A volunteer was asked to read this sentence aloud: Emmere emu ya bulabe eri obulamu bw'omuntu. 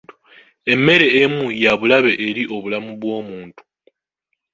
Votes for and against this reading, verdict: 1, 2, rejected